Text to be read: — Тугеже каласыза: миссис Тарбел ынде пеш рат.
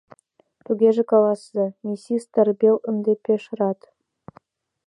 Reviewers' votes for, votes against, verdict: 1, 2, rejected